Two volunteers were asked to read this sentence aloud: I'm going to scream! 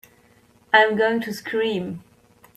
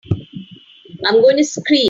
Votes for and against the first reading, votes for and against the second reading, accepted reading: 3, 1, 0, 3, first